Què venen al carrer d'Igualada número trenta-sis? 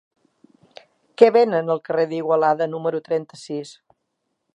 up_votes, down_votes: 3, 0